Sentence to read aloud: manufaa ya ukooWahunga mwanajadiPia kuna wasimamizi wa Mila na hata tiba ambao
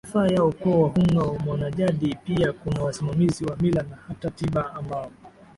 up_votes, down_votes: 2, 0